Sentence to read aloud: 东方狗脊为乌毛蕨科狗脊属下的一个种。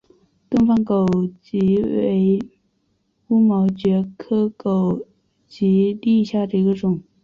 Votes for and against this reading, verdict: 0, 2, rejected